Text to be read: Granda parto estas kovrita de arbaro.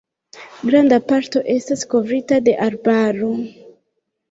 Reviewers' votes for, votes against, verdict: 0, 2, rejected